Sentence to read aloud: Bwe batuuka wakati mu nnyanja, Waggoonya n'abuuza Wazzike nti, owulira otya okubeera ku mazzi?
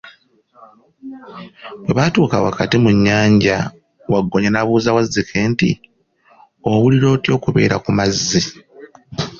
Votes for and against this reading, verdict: 2, 0, accepted